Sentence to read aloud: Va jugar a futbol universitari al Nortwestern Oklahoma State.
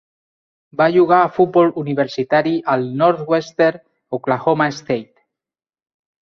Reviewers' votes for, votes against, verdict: 0, 2, rejected